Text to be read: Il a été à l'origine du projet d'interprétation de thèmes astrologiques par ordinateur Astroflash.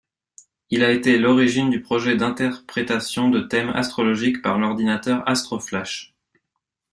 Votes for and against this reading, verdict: 1, 2, rejected